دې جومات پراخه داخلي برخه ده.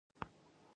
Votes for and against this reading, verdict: 0, 2, rejected